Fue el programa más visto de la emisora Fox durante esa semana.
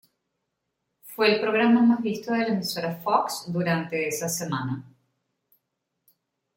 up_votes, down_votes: 3, 0